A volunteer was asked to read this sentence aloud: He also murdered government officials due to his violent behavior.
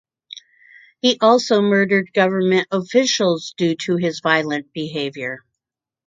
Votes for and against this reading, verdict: 2, 0, accepted